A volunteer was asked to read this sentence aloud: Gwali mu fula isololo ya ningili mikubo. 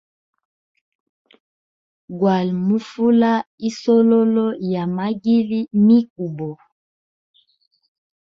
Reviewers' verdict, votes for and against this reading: accepted, 2, 0